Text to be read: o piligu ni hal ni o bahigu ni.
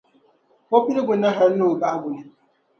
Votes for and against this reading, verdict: 2, 0, accepted